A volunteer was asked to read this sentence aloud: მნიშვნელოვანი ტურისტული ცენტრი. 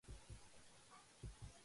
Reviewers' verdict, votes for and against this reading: rejected, 0, 2